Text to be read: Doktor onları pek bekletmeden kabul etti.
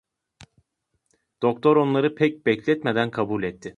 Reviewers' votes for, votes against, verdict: 2, 0, accepted